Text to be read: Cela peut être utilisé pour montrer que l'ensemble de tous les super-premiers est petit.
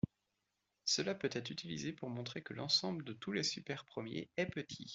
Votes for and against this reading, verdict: 3, 0, accepted